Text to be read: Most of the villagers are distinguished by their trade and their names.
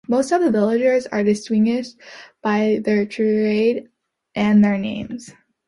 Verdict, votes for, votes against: rejected, 0, 2